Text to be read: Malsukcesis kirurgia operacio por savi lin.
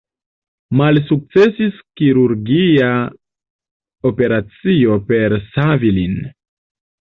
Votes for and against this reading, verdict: 0, 2, rejected